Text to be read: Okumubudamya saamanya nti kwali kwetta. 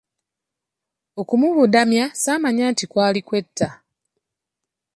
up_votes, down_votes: 2, 0